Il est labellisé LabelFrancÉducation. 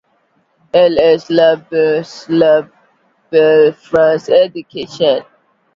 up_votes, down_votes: 2, 1